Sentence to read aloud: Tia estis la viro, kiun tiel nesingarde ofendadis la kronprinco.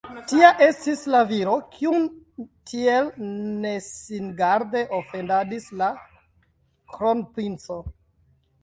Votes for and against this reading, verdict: 1, 2, rejected